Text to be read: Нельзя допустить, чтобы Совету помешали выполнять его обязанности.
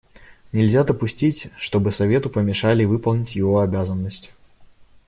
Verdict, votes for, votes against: rejected, 1, 2